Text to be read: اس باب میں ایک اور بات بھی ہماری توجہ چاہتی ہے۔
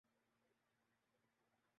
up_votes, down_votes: 0, 2